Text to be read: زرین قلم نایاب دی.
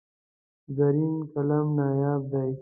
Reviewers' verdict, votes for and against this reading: accepted, 2, 0